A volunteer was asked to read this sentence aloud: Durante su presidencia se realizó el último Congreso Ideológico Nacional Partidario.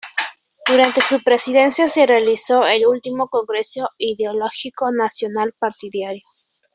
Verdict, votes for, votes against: rejected, 1, 2